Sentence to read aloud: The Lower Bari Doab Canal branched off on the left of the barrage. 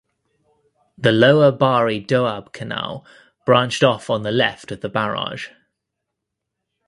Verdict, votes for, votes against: accepted, 3, 0